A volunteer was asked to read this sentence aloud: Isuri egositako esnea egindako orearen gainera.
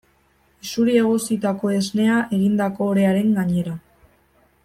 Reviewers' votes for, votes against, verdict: 1, 2, rejected